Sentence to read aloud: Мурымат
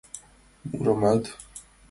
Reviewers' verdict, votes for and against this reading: accepted, 2, 0